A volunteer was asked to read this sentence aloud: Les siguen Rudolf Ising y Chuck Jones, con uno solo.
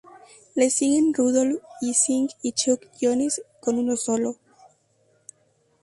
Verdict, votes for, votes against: accepted, 2, 0